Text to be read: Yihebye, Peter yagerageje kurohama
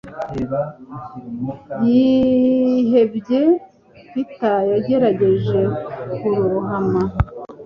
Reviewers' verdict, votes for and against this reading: rejected, 1, 2